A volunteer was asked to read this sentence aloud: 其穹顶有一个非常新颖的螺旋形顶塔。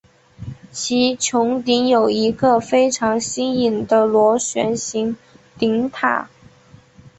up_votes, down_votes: 7, 0